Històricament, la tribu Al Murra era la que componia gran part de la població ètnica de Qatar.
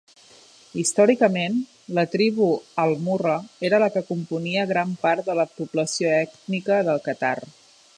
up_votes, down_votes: 1, 2